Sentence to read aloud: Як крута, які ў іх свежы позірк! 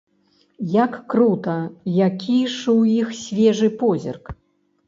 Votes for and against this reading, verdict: 0, 2, rejected